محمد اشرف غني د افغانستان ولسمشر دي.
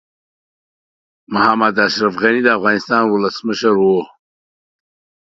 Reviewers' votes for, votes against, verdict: 1, 2, rejected